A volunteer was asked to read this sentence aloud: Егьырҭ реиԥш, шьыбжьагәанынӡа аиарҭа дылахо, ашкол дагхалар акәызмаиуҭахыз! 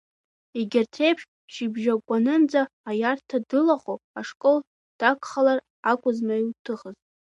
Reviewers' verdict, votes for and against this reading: rejected, 1, 2